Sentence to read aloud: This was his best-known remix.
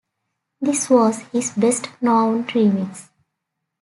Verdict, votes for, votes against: accepted, 2, 0